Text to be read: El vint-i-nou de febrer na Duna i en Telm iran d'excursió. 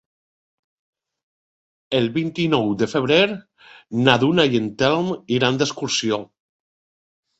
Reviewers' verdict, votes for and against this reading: accepted, 2, 0